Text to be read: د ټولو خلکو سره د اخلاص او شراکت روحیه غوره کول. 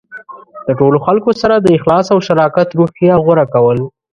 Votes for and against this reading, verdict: 1, 2, rejected